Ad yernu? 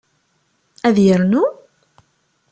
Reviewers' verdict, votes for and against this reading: accepted, 2, 0